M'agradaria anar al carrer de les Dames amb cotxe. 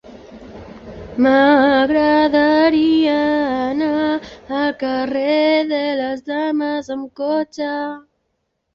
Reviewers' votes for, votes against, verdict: 1, 2, rejected